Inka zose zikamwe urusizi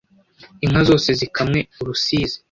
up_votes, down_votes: 2, 0